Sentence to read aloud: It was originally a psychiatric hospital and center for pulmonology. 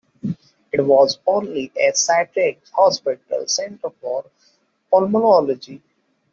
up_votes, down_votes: 1, 2